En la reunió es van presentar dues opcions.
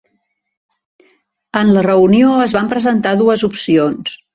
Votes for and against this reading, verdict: 3, 0, accepted